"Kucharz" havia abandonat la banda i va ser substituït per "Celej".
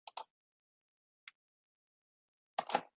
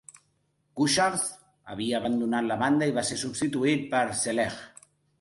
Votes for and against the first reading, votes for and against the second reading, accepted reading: 0, 2, 2, 0, second